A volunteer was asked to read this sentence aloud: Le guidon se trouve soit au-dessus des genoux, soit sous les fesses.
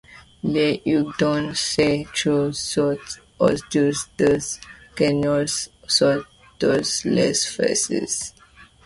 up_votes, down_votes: 0, 2